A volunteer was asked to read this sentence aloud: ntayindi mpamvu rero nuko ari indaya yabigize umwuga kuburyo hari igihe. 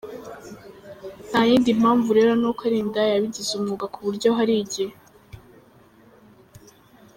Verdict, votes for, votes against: rejected, 0, 2